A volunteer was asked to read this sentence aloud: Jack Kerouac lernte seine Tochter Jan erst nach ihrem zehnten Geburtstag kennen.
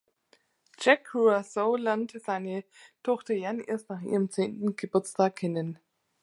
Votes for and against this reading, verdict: 0, 3, rejected